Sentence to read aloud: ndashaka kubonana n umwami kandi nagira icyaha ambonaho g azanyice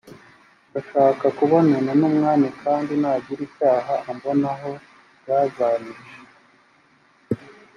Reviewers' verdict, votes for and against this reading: rejected, 2, 4